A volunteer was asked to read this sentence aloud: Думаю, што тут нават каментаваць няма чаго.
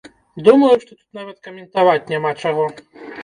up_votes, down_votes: 1, 2